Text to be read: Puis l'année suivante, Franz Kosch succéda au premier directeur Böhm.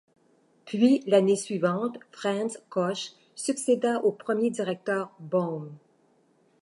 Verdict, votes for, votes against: accepted, 2, 1